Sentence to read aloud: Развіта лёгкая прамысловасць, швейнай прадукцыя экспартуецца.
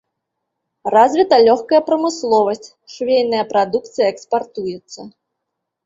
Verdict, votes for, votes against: accepted, 2, 0